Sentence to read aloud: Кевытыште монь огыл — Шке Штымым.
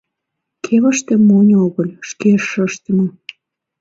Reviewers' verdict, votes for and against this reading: rejected, 1, 2